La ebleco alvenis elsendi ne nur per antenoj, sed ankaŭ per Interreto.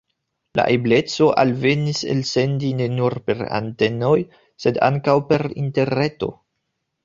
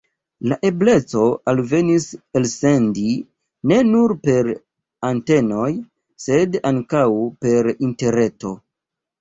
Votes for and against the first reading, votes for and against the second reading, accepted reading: 2, 0, 0, 2, first